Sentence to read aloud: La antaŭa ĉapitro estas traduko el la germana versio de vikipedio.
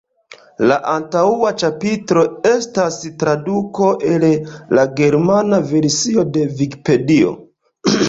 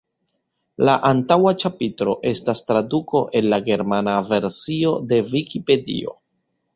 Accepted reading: second